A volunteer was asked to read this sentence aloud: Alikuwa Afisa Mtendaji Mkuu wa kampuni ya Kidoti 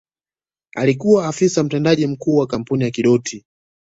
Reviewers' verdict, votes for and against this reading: rejected, 0, 2